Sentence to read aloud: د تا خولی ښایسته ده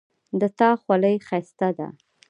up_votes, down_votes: 2, 0